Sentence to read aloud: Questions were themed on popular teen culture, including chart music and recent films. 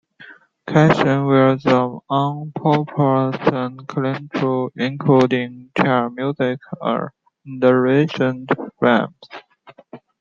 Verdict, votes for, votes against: rejected, 0, 2